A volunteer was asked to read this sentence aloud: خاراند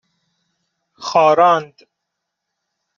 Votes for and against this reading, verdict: 2, 0, accepted